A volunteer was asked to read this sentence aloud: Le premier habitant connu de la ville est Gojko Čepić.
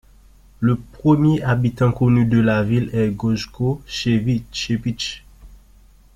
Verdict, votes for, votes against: rejected, 1, 2